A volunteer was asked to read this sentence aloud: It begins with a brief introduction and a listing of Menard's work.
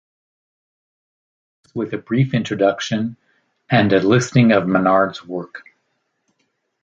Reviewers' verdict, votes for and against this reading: rejected, 0, 2